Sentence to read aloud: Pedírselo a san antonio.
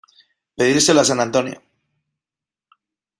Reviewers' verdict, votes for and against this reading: accepted, 2, 0